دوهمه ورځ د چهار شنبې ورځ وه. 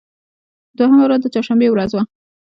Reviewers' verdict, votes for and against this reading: accepted, 2, 0